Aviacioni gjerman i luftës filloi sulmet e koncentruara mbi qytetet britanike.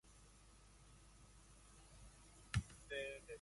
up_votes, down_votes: 0, 2